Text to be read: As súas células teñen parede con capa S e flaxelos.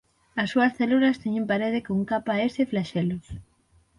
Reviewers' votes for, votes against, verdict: 6, 0, accepted